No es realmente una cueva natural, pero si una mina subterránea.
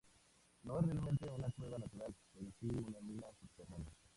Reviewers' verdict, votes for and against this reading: rejected, 0, 4